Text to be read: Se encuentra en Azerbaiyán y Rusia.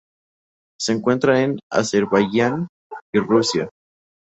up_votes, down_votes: 4, 0